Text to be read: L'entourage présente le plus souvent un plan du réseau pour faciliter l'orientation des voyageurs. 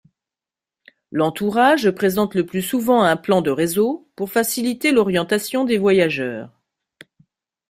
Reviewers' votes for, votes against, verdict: 0, 2, rejected